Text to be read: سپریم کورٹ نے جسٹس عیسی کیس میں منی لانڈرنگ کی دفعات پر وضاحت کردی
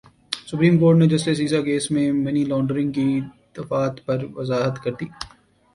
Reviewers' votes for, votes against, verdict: 2, 0, accepted